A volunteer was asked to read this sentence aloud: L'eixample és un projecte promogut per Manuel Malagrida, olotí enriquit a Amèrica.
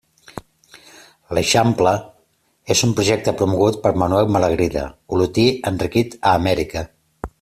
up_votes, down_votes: 2, 0